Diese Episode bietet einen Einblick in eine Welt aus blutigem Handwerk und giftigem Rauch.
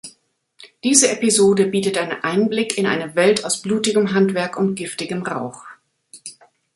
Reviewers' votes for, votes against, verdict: 0, 2, rejected